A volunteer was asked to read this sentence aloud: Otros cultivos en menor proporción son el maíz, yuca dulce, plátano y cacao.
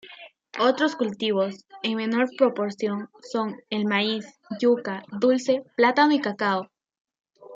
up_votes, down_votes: 1, 2